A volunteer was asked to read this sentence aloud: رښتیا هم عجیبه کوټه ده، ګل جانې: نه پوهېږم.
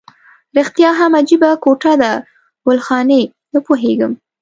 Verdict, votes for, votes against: rejected, 0, 2